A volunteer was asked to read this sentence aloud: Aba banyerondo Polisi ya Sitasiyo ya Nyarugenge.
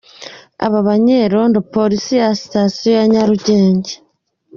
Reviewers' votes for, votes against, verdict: 2, 0, accepted